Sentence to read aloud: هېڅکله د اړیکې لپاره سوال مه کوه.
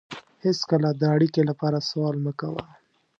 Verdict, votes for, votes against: accepted, 2, 0